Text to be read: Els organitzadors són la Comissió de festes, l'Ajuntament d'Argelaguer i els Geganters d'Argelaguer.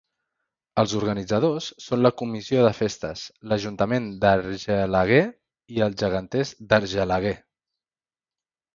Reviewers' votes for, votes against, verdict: 3, 0, accepted